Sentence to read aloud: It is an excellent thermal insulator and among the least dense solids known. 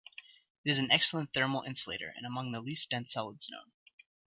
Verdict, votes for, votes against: accepted, 3, 1